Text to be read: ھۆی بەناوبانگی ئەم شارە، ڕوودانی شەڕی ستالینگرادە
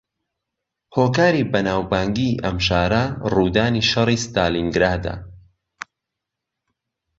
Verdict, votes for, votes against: rejected, 1, 2